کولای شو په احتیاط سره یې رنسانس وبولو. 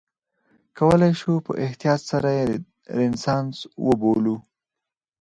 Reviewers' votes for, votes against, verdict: 0, 4, rejected